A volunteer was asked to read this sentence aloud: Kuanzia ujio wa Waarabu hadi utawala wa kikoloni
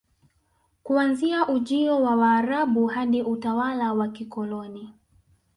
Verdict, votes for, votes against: accepted, 3, 0